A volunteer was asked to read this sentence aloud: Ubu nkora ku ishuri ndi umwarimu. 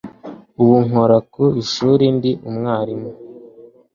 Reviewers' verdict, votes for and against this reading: accepted, 2, 0